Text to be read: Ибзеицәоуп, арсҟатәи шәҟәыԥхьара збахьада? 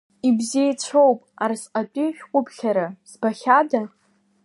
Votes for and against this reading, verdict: 2, 0, accepted